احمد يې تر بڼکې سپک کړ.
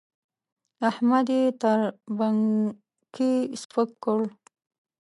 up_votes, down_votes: 1, 2